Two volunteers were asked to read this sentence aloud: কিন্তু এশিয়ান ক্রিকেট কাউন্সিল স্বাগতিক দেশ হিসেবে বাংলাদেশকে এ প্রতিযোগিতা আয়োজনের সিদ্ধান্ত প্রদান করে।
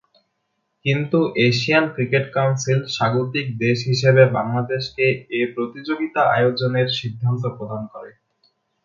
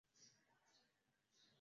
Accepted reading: first